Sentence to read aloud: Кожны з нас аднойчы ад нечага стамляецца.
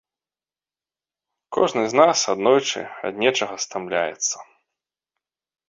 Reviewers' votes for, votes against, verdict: 2, 0, accepted